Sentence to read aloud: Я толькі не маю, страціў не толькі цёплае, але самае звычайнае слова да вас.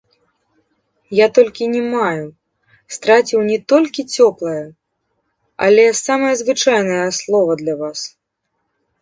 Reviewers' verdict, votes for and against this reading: rejected, 0, 2